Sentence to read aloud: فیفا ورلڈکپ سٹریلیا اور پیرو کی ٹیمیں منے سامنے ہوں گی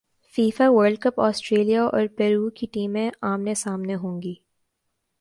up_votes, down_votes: 2, 0